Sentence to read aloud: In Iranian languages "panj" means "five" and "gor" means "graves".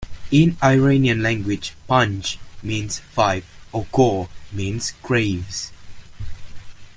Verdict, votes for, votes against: accepted, 2, 1